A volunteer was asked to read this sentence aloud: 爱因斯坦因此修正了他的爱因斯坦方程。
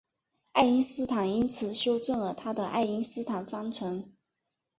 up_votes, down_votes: 2, 0